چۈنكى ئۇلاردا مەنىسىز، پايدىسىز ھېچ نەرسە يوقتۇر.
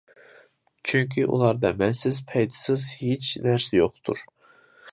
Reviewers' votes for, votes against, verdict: 0, 2, rejected